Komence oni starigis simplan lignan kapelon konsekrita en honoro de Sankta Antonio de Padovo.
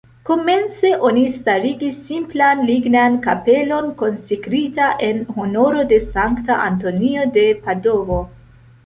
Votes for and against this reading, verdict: 2, 0, accepted